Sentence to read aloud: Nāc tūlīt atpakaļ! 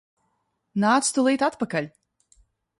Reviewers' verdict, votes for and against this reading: accepted, 2, 0